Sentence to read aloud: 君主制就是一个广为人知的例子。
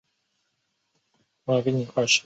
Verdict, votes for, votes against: rejected, 1, 3